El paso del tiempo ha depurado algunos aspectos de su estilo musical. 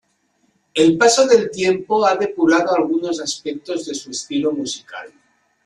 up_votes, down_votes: 2, 0